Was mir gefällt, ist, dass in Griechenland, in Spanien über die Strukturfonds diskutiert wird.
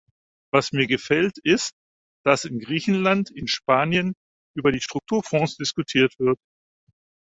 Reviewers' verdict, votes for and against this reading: accepted, 4, 0